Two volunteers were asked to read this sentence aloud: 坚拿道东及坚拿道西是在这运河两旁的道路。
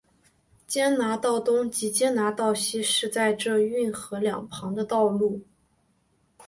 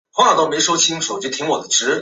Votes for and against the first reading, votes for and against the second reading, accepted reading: 2, 0, 0, 2, first